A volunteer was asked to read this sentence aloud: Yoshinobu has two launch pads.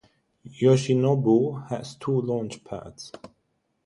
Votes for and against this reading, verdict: 6, 0, accepted